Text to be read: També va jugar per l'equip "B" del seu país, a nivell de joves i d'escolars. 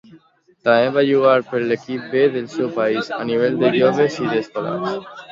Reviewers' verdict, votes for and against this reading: accepted, 2, 0